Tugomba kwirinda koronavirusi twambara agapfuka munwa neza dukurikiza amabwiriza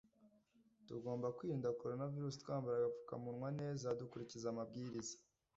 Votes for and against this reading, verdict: 2, 0, accepted